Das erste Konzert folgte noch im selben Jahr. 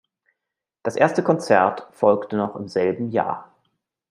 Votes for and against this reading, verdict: 2, 0, accepted